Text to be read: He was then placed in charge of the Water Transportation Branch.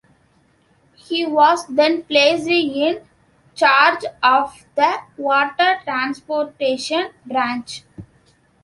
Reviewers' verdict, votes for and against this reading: rejected, 1, 2